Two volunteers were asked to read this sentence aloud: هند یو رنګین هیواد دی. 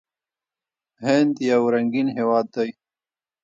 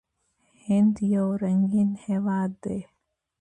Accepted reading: second